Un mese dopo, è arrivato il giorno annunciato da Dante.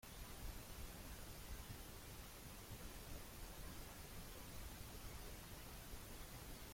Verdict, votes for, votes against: rejected, 0, 2